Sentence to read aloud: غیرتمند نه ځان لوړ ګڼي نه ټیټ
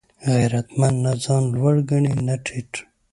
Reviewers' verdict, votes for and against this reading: accepted, 2, 0